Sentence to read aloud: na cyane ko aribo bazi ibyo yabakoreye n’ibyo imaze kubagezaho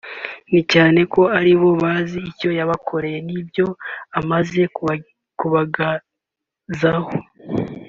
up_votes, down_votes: 0, 2